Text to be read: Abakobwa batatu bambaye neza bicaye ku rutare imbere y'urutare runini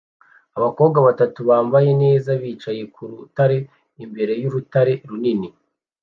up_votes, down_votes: 2, 0